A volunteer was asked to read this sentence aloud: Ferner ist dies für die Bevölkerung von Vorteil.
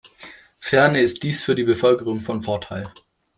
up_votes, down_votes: 2, 0